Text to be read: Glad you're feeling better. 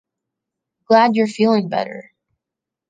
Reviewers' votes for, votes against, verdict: 2, 0, accepted